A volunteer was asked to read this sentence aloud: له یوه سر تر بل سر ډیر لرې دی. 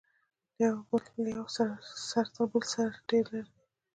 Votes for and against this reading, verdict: 2, 0, accepted